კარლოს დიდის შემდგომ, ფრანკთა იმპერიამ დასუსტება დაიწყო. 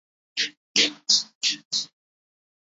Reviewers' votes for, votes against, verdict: 0, 2, rejected